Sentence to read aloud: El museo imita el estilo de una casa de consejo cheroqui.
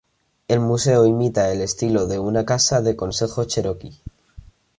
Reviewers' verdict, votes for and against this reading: accepted, 2, 0